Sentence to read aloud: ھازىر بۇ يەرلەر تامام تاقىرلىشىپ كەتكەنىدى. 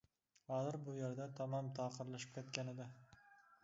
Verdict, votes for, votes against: rejected, 0, 2